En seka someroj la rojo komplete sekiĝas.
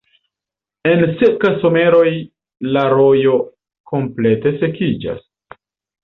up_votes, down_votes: 2, 0